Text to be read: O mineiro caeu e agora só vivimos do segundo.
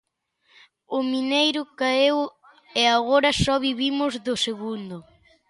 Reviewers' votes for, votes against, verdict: 2, 0, accepted